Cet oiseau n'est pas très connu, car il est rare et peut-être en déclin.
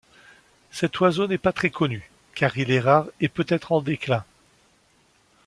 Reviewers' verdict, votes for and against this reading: accepted, 2, 0